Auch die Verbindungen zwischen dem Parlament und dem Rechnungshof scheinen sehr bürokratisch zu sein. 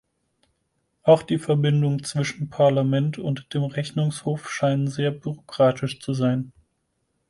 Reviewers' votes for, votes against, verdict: 2, 4, rejected